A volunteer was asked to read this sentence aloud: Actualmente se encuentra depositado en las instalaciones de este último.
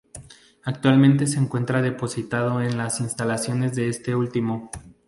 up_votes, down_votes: 4, 0